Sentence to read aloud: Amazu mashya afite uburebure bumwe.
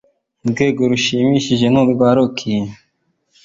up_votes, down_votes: 1, 2